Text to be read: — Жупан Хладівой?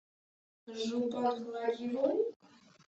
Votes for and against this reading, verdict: 0, 2, rejected